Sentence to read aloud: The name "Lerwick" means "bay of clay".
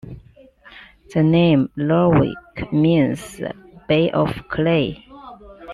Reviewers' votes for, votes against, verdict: 2, 0, accepted